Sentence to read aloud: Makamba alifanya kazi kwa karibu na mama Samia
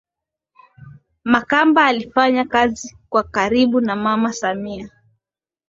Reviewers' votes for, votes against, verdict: 6, 5, accepted